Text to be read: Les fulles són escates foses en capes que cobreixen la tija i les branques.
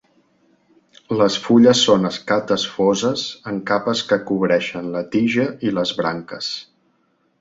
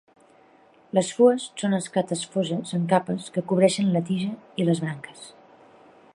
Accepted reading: first